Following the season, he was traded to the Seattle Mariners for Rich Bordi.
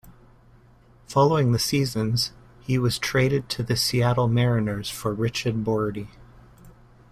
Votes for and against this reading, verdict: 0, 2, rejected